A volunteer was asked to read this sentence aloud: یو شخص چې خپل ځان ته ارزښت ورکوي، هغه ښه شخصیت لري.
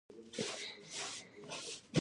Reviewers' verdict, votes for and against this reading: rejected, 1, 2